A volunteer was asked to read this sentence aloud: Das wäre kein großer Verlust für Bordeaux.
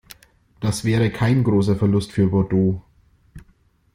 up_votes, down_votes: 2, 0